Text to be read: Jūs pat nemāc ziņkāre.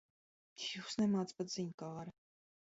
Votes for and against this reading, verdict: 1, 2, rejected